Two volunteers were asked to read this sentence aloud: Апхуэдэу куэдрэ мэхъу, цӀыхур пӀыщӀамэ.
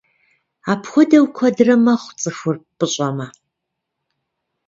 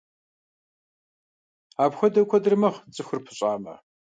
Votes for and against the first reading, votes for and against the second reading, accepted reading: 1, 2, 2, 0, second